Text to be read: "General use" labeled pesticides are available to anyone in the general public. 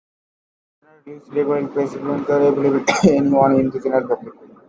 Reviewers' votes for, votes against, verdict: 0, 2, rejected